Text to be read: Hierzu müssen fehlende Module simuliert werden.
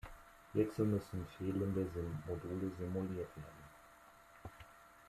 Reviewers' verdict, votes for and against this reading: rejected, 0, 2